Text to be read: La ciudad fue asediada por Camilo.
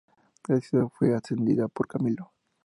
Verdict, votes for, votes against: rejected, 2, 4